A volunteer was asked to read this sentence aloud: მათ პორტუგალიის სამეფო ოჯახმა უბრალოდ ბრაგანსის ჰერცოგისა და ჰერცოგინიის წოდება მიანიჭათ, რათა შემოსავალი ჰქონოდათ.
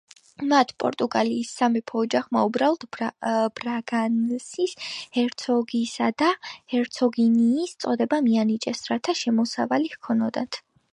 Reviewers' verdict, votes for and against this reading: rejected, 1, 2